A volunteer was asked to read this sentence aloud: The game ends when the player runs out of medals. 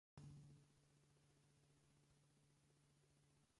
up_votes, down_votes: 0, 2